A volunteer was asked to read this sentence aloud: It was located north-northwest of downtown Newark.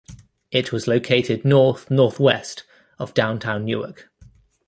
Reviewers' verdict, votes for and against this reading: accepted, 2, 0